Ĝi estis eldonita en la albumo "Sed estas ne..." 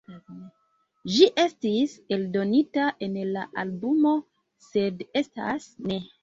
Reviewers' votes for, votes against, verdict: 3, 1, accepted